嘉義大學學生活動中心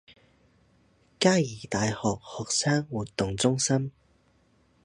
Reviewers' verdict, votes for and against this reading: rejected, 0, 2